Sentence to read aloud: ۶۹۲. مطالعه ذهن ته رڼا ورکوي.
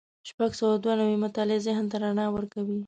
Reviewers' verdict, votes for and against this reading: rejected, 0, 2